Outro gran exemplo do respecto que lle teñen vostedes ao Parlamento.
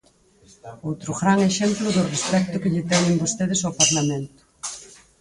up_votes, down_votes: 4, 0